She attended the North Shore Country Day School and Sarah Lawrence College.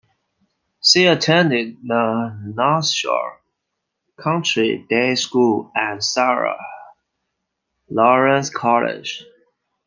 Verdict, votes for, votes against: accepted, 2, 1